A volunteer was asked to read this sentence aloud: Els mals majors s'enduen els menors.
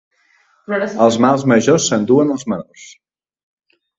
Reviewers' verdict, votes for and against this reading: rejected, 1, 2